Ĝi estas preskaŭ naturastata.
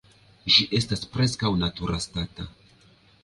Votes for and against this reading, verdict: 2, 3, rejected